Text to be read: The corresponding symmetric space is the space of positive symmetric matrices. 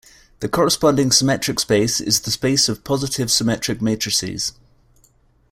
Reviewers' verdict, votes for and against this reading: accepted, 2, 0